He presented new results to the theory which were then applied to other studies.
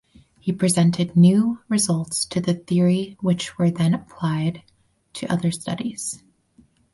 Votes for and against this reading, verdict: 4, 0, accepted